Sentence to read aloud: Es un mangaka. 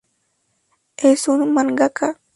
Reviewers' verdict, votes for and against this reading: accepted, 2, 0